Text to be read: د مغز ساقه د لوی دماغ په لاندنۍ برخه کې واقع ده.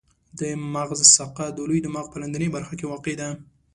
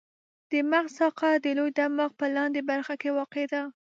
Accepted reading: first